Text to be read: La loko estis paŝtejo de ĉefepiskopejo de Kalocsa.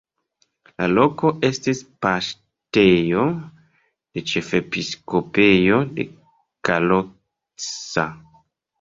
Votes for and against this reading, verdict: 1, 2, rejected